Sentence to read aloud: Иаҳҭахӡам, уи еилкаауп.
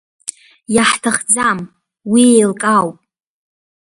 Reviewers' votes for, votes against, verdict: 2, 0, accepted